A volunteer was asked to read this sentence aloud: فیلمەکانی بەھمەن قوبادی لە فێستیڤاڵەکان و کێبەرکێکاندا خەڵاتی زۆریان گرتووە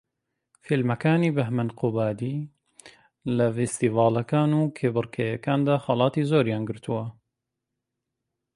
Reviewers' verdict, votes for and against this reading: accepted, 2, 0